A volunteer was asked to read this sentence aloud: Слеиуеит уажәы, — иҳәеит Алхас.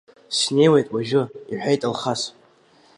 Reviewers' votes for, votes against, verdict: 1, 2, rejected